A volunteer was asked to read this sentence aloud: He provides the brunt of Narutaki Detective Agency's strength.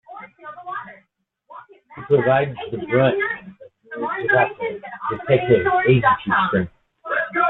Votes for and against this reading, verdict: 1, 2, rejected